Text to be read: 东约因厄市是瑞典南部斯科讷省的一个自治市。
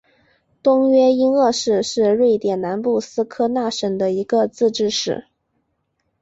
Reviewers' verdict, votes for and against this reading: accepted, 5, 1